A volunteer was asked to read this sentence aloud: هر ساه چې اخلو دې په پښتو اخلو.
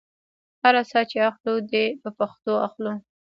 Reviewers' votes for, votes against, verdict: 0, 2, rejected